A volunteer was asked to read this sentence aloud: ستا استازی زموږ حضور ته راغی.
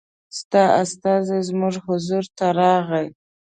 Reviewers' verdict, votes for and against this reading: accepted, 2, 0